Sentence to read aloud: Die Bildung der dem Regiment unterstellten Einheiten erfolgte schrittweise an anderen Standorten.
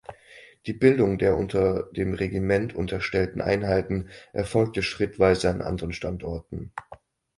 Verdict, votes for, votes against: rejected, 0, 4